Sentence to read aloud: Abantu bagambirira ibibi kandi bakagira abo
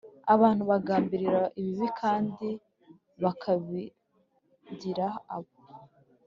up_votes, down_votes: 0, 3